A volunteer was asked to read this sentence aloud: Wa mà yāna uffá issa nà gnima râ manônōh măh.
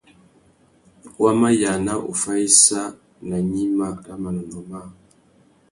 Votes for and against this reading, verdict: 2, 0, accepted